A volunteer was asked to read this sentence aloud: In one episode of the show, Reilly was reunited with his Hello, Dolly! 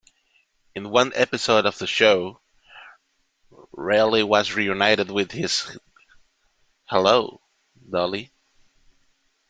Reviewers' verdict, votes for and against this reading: rejected, 1, 2